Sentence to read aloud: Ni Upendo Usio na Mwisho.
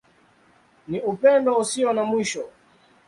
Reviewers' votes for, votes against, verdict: 2, 0, accepted